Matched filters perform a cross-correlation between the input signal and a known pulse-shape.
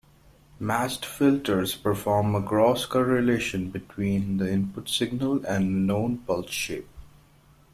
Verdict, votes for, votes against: accepted, 2, 1